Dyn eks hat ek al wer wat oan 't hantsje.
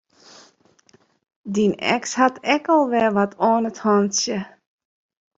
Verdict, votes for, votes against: accepted, 2, 1